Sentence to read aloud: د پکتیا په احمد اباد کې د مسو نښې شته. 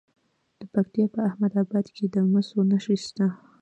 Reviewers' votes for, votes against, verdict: 0, 2, rejected